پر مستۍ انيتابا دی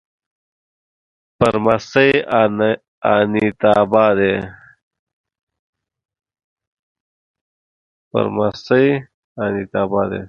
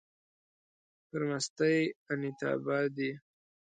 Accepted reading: second